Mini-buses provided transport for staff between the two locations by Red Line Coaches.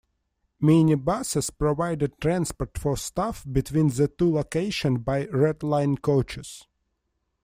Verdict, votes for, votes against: rejected, 0, 2